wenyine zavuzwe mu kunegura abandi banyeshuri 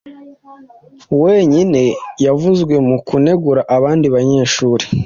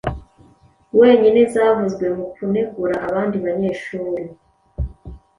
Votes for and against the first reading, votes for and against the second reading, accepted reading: 1, 2, 2, 0, second